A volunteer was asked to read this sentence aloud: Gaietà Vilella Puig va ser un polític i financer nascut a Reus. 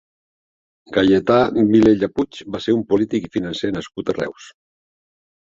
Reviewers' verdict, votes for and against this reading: accepted, 2, 0